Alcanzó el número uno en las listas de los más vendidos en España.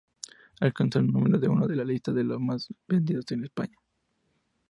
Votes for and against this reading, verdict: 2, 0, accepted